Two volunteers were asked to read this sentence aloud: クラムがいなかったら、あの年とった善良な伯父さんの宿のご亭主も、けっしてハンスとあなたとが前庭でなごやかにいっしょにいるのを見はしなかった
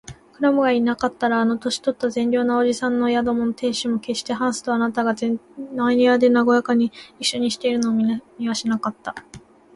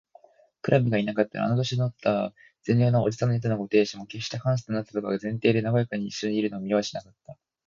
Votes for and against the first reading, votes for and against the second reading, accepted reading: 0, 2, 3, 0, second